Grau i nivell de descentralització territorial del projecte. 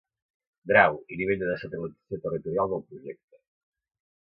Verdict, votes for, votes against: rejected, 0, 2